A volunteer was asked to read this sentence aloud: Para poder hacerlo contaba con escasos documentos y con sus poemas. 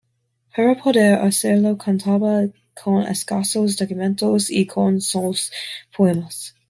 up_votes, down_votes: 1, 2